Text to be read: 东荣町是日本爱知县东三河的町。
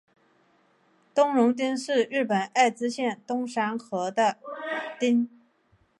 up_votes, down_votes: 3, 0